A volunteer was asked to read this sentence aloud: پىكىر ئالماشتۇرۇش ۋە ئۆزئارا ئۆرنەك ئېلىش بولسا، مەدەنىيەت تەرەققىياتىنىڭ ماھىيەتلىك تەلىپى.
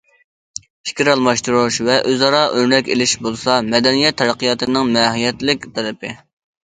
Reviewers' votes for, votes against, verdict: 2, 0, accepted